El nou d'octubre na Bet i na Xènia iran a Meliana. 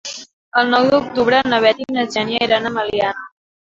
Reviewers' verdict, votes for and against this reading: accepted, 3, 1